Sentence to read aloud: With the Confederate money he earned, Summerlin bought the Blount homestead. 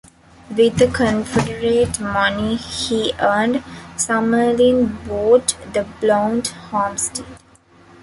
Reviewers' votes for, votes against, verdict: 1, 2, rejected